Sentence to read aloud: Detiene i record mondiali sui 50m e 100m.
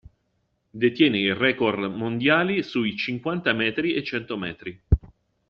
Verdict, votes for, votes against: rejected, 0, 2